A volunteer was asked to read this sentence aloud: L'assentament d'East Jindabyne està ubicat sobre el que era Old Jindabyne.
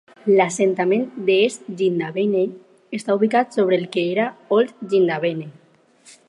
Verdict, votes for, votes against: accepted, 4, 0